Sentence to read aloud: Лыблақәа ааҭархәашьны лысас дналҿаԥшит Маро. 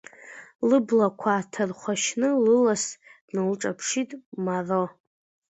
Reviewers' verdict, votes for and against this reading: accepted, 2, 1